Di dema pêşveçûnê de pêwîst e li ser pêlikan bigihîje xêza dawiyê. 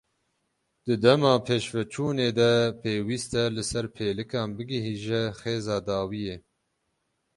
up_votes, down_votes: 6, 0